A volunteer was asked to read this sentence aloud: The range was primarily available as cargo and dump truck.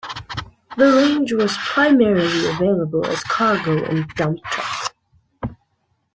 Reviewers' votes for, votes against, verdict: 0, 2, rejected